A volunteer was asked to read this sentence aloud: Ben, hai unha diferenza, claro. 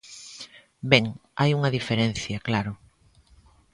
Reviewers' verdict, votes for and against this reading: rejected, 0, 2